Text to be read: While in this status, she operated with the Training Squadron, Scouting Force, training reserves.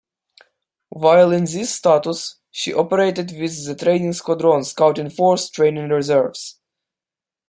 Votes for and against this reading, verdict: 1, 2, rejected